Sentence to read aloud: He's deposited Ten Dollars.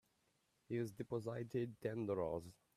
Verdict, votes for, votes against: rejected, 0, 2